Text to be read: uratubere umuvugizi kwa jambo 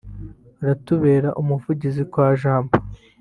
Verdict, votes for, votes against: rejected, 1, 2